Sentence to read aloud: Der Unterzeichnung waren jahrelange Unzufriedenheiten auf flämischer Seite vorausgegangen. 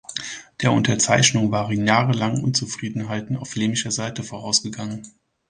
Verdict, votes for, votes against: rejected, 0, 2